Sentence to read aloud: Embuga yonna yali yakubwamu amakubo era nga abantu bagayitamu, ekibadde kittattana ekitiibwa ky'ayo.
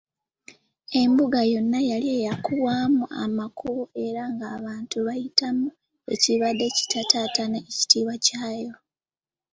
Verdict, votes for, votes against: accepted, 3, 2